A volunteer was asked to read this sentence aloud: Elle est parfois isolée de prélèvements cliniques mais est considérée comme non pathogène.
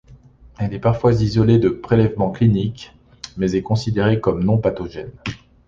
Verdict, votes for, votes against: accepted, 2, 0